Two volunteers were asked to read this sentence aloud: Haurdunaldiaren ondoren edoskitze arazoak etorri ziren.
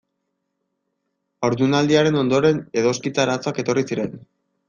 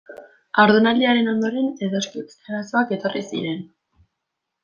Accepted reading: first